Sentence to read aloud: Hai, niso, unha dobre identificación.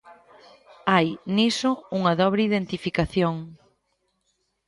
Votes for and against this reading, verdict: 3, 0, accepted